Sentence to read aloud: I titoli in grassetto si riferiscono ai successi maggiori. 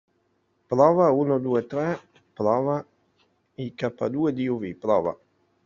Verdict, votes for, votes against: rejected, 0, 2